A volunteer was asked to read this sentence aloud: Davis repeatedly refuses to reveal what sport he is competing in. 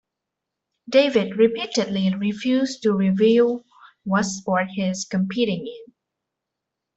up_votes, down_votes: 0, 2